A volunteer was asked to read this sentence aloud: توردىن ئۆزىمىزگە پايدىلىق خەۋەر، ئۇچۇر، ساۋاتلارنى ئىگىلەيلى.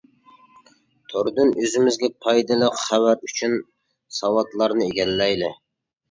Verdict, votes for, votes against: rejected, 0, 2